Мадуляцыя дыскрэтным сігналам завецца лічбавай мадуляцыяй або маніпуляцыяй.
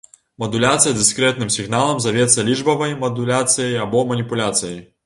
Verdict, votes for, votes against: accepted, 2, 0